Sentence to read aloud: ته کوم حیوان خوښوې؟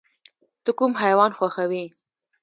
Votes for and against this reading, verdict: 1, 2, rejected